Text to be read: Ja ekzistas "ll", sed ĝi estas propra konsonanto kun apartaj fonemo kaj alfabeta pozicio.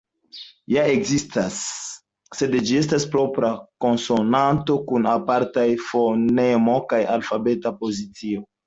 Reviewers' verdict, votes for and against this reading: rejected, 1, 2